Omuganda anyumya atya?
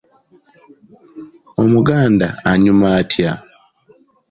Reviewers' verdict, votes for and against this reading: rejected, 0, 2